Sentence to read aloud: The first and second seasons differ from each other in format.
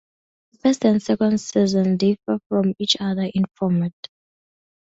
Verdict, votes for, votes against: rejected, 0, 2